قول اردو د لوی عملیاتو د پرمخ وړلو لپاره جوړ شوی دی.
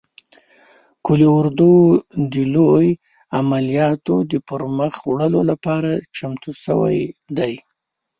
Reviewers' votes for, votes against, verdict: 1, 2, rejected